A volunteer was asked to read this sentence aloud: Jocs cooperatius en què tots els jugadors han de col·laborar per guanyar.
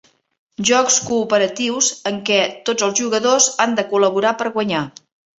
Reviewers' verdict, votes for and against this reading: accepted, 3, 0